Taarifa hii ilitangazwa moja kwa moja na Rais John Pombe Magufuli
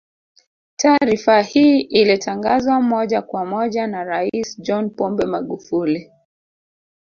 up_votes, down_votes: 2, 0